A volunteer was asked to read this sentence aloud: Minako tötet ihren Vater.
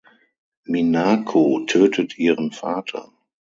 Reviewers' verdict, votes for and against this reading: accepted, 6, 0